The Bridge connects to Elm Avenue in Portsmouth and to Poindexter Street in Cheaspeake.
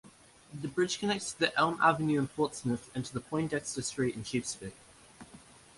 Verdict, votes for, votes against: rejected, 1, 2